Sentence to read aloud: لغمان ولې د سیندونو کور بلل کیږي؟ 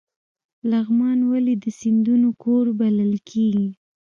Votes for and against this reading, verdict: 0, 2, rejected